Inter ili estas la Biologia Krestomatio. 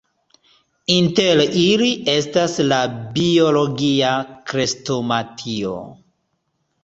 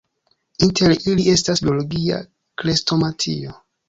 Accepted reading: first